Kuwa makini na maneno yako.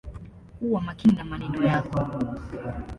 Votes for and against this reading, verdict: 2, 0, accepted